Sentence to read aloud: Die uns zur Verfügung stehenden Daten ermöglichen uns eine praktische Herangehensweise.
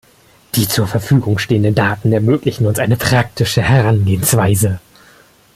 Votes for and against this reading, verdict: 1, 2, rejected